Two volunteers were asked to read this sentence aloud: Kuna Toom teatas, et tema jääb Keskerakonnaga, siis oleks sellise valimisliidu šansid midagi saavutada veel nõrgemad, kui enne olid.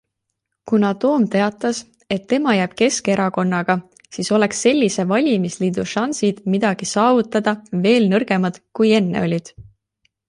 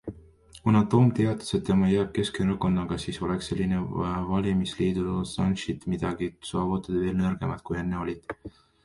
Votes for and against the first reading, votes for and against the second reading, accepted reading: 2, 0, 0, 2, first